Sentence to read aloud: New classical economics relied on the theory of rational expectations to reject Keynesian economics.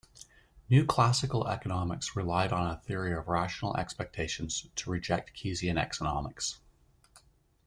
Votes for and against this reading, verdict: 0, 2, rejected